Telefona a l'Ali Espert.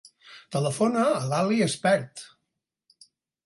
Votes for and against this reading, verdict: 4, 0, accepted